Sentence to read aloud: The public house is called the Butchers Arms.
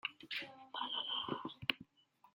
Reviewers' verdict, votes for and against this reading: rejected, 0, 2